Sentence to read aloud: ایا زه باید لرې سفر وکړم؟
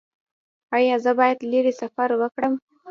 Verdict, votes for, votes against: rejected, 0, 2